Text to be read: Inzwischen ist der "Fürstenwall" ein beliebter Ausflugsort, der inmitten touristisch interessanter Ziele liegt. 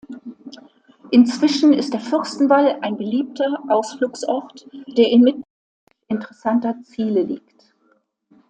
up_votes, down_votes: 0, 2